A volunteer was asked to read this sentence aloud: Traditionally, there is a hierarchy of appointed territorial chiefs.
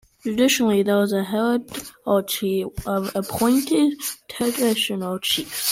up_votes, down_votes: 0, 2